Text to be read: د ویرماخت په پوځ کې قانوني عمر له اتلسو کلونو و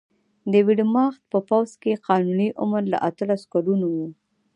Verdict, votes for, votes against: accepted, 2, 0